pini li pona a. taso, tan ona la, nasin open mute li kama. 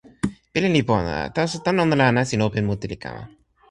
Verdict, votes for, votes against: rejected, 1, 2